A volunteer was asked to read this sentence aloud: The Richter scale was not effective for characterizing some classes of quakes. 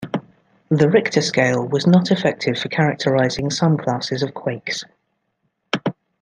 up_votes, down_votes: 2, 0